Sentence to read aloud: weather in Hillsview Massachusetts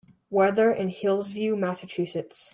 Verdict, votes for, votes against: accepted, 2, 1